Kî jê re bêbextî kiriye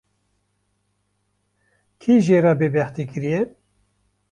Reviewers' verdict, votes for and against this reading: accepted, 2, 0